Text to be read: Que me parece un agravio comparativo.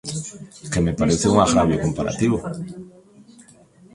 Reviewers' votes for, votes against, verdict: 1, 2, rejected